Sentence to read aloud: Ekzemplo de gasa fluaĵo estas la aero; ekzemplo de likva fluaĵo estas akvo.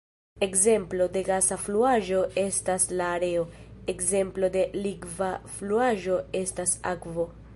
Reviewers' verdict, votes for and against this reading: rejected, 1, 2